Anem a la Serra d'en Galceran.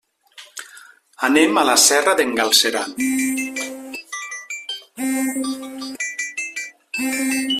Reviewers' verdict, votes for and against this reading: rejected, 1, 2